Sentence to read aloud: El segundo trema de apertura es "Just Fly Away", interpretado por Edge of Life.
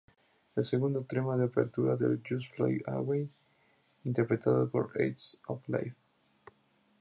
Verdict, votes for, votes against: rejected, 0, 2